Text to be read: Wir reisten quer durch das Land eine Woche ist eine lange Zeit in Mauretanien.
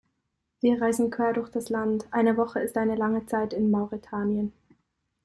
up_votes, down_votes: 1, 2